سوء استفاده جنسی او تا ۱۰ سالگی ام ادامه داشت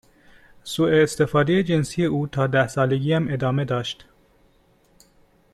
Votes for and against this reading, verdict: 0, 2, rejected